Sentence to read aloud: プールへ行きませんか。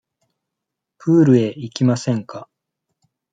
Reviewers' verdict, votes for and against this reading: accepted, 2, 0